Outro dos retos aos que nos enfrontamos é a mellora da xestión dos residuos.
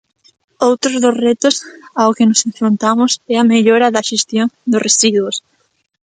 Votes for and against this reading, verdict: 0, 2, rejected